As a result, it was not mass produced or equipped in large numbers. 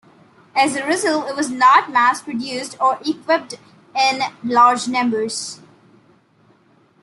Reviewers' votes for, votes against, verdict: 2, 0, accepted